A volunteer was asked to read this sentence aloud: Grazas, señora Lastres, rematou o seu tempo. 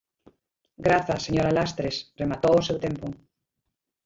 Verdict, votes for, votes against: rejected, 1, 2